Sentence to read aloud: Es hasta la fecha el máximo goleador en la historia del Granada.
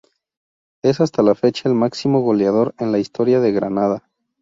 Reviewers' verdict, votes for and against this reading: accepted, 2, 0